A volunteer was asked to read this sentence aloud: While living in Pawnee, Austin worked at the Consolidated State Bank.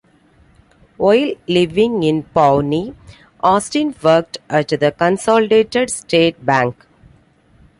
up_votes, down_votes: 2, 0